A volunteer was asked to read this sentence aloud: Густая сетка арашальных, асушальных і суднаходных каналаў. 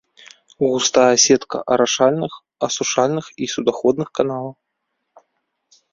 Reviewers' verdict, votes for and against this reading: rejected, 1, 2